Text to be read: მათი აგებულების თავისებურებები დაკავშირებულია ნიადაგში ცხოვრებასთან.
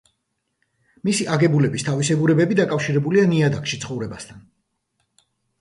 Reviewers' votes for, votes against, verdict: 0, 2, rejected